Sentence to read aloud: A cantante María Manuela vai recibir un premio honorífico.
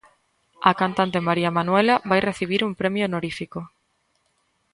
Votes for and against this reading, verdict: 2, 0, accepted